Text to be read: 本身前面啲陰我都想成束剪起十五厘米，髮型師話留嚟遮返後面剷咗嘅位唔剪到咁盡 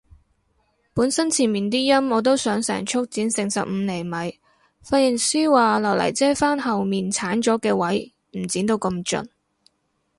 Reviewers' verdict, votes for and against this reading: rejected, 2, 2